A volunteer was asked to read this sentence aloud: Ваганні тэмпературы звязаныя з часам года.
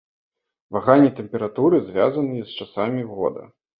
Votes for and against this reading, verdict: 2, 0, accepted